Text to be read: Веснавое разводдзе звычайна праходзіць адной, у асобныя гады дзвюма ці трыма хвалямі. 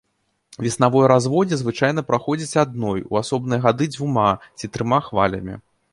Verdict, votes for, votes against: accepted, 2, 1